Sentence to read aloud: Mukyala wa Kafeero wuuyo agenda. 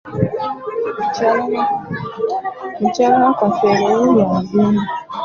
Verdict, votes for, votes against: accepted, 2, 1